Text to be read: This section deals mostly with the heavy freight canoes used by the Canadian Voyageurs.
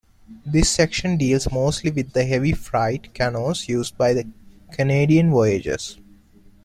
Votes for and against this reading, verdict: 0, 2, rejected